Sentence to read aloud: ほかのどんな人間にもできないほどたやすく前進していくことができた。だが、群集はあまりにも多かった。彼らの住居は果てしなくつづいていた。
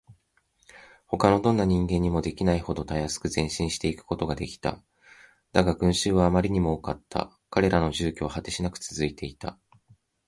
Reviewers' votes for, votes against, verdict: 0, 2, rejected